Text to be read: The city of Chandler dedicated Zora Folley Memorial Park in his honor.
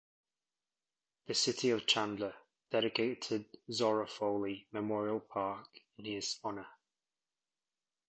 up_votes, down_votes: 1, 2